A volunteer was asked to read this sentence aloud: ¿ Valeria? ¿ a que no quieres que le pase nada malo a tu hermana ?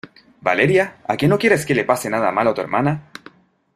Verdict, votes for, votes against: accepted, 2, 0